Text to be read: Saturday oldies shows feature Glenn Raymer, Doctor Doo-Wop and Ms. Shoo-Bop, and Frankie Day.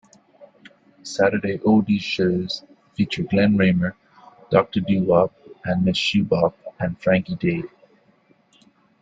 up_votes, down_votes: 4, 1